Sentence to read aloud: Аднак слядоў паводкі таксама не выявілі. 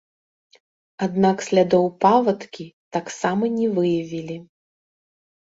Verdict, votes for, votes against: rejected, 1, 2